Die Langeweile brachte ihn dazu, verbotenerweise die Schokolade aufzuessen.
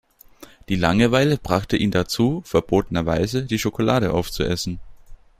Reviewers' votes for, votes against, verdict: 2, 0, accepted